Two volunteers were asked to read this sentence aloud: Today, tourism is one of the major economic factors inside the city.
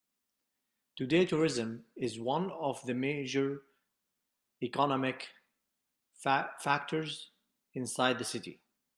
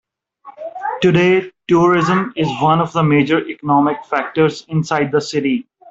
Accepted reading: second